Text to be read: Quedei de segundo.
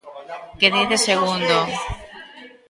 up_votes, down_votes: 0, 2